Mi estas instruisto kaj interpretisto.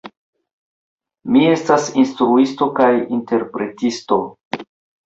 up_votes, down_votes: 2, 0